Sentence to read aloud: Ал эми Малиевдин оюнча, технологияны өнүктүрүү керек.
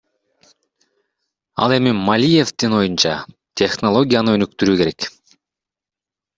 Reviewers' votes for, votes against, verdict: 1, 2, rejected